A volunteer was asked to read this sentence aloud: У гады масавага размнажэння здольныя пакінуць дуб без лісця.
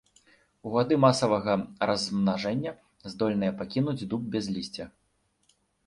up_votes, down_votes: 1, 2